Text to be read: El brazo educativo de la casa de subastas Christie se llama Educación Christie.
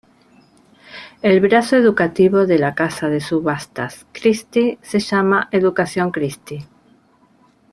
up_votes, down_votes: 2, 0